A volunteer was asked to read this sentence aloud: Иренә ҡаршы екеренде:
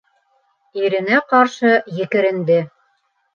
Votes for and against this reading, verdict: 2, 0, accepted